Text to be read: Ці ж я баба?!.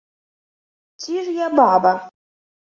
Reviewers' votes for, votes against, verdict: 2, 0, accepted